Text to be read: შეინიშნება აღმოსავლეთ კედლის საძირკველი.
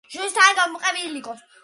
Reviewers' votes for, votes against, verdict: 2, 1, accepted